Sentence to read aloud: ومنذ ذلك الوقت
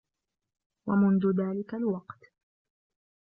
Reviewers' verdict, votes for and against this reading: accepted, 2, 1